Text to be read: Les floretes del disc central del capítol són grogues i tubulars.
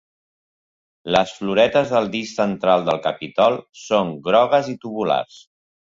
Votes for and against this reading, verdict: 0, 2, rejected